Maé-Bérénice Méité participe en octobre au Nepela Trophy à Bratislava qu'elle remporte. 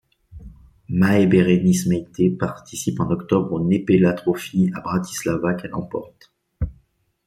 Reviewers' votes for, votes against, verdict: 1, 2, rejected